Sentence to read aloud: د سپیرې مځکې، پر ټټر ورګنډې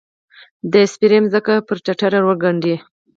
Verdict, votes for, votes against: accepted, 4, 0